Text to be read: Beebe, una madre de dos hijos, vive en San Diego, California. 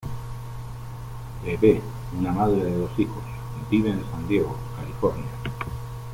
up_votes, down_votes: 2, 1